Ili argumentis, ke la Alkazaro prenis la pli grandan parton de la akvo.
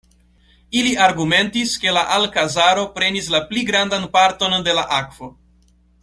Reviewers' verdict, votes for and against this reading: accepted, 2, 0